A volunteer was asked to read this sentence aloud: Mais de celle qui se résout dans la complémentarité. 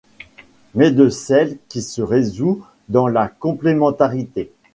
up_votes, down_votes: 2, 0